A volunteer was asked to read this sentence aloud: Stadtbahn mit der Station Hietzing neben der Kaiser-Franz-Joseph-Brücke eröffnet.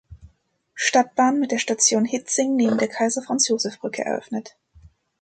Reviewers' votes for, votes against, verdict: 2, 0, accepted